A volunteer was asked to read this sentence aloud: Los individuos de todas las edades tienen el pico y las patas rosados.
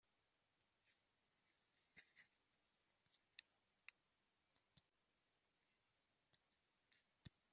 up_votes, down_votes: 0, 2